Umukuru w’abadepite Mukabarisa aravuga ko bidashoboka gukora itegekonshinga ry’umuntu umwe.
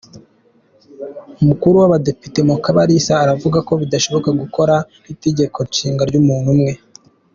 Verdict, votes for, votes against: accepted, 2, 0